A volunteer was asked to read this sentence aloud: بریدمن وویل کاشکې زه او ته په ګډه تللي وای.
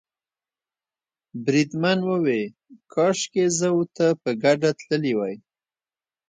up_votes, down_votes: 2, 0